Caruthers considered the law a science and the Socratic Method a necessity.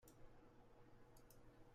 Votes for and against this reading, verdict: 0, 2, rejected